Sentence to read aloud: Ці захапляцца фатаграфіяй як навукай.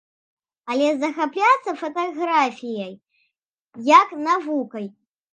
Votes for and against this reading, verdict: 0, 2, rejected